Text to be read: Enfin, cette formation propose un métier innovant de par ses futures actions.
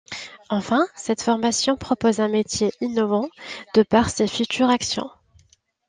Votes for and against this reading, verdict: 2, 0, accepted